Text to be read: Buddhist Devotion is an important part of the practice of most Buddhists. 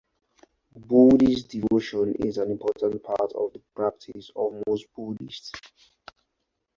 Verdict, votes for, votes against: accepted, 4, 0